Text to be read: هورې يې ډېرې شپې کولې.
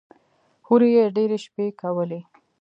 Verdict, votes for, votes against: accepted, 2, 0